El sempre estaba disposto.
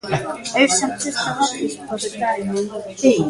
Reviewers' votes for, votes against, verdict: 0, 2, rejected